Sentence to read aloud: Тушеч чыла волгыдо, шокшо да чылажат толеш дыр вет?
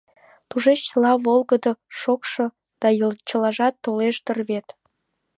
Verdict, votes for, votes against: rejected, 0, 2